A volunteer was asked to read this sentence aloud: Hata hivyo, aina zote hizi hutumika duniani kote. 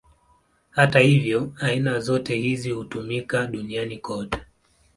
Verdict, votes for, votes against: accepted, 2, 0